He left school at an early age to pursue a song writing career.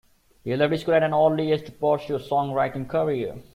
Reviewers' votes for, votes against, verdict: 1, 2, rejected